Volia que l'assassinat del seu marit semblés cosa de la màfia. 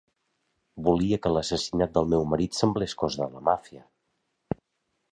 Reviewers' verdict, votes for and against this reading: rejected, 0, 3